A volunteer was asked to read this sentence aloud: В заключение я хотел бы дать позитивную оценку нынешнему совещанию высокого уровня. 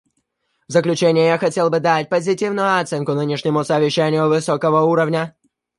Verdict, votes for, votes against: rejected, 1, 2